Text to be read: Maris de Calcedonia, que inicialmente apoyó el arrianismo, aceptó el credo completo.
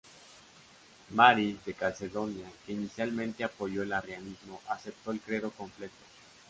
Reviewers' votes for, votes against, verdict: 2, 1, accepted